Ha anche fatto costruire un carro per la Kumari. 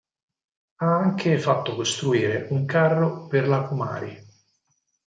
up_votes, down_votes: 4, 0